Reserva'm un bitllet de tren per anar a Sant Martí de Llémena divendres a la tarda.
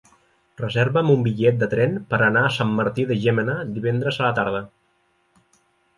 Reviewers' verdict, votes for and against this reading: accepted, 2, 0